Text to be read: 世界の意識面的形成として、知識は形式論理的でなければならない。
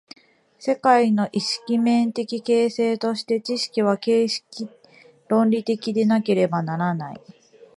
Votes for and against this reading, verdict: 2, 0, accepted